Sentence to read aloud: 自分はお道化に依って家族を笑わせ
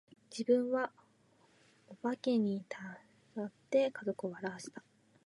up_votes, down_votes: 17, 19